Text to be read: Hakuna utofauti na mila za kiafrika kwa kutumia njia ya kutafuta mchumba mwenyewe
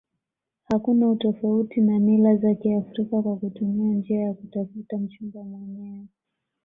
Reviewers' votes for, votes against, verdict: 2, 1, accepted